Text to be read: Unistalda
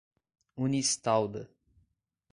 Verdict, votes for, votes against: accepted, 2, 0